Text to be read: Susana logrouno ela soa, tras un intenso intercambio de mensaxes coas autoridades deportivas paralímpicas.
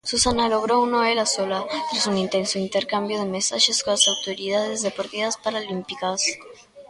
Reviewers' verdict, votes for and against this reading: rejected, 1, 2